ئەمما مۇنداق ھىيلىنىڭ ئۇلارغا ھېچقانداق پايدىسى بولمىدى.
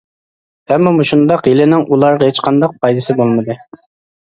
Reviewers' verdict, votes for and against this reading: rejected, 0, 2